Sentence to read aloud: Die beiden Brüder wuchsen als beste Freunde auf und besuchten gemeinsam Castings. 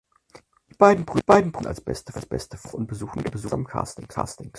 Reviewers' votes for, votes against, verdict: 0, 4, rejected